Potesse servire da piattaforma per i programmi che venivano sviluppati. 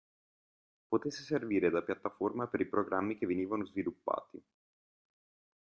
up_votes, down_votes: 2, 0